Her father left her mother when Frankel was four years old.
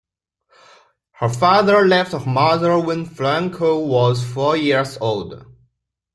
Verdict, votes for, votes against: accepted, 2, 0